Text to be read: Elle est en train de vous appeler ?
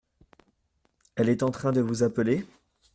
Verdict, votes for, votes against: accepted, 2, 0